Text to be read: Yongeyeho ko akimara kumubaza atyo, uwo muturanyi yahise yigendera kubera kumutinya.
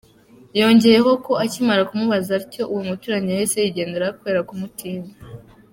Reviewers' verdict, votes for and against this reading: accepted, 2, 0